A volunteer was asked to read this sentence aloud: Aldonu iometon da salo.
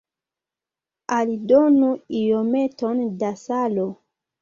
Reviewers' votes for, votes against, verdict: 2, 0, accepted